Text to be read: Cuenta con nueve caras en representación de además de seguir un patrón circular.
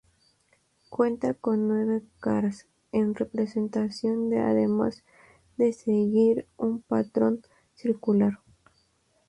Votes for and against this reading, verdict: 2, 0, accepted